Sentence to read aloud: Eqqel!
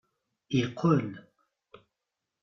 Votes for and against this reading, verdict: 1, 2, rejected